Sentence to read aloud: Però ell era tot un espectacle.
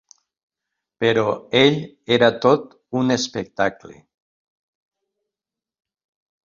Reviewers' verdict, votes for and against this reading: accepted, 4, 0